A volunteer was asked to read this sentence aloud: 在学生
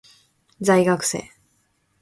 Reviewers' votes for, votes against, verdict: 3, 0, accepted